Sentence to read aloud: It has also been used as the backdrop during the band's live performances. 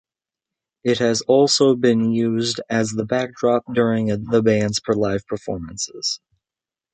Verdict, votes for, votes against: rejected, 2, 3